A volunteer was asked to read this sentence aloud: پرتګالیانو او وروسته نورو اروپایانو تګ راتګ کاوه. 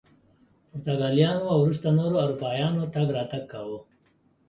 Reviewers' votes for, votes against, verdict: 2, 0, accepted